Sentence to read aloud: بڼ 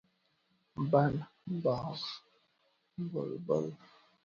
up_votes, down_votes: 0, 2